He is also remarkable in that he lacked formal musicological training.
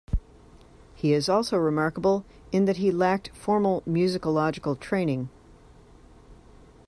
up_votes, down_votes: 3, 0